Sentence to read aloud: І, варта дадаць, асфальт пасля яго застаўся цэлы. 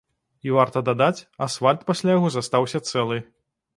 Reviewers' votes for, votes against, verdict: 2, 1, accepted